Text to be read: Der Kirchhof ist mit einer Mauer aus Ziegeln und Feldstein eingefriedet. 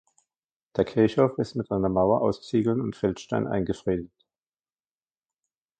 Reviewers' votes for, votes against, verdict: 1, 2, rejected